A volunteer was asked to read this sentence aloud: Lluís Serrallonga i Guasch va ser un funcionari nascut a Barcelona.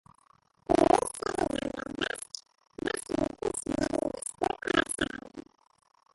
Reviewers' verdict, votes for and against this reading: rejected, 0, 3